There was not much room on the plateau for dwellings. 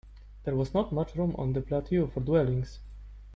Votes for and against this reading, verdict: 0, 2, rejected